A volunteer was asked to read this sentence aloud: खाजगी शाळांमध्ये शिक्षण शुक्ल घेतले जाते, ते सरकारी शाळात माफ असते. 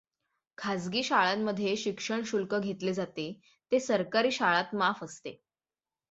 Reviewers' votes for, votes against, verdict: 6, 0, accepted